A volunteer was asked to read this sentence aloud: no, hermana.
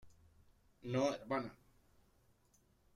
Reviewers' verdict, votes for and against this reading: rejected, 1, 2